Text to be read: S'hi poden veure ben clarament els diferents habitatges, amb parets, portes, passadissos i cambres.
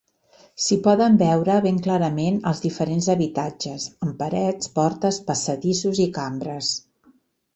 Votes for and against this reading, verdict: 4, 0, accepted